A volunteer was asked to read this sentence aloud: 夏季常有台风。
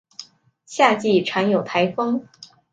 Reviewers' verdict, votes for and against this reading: accepted, 2, 0